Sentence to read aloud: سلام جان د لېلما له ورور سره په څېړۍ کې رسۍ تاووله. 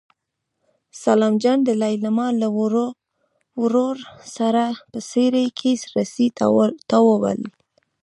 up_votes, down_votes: 0, 2